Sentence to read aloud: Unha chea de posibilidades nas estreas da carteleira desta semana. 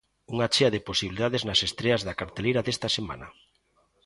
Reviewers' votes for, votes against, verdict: 2, 0, accepted